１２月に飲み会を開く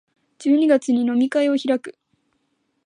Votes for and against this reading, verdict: 0, 2, rejected